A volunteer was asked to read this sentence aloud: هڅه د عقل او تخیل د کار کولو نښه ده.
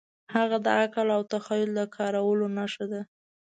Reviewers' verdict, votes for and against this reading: rejected, 2, 3